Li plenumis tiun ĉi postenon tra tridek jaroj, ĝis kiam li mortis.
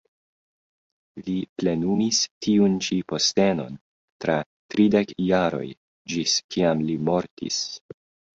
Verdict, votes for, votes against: accepted, 2, 0